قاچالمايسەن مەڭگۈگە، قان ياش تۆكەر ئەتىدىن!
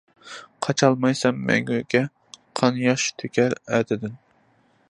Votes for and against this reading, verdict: 2, 0, accepted